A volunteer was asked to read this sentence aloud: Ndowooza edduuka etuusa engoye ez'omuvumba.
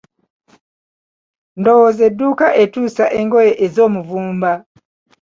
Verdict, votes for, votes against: accepted, 2, 1